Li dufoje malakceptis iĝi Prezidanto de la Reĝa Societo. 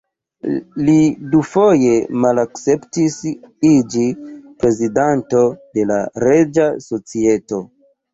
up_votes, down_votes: 2, 0